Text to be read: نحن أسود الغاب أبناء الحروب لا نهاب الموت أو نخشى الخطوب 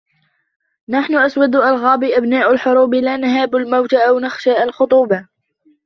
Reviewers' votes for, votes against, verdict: 0, 2, rejected